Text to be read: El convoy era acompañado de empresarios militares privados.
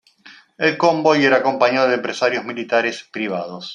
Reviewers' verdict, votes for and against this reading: accepted, 2, 0